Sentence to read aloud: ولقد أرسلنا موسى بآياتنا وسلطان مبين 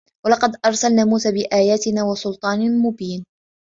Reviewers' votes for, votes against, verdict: 3, 1, accepted